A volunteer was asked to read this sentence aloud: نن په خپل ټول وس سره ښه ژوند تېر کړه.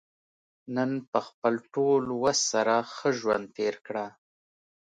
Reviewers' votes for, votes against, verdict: 2, 0, accepted